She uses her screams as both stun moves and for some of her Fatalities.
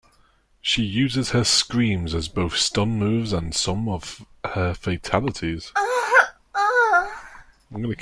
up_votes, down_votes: 0, 3